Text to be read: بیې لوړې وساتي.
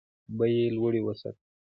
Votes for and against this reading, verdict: 1, 2, rejected